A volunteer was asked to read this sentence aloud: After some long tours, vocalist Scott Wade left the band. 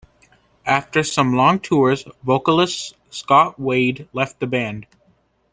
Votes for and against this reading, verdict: 2, 0, accepted